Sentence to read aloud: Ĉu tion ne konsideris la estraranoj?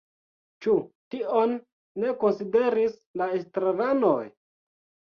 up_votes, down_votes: 2, 0